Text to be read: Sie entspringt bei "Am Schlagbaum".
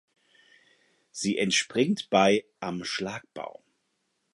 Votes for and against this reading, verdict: 4, 0, accepted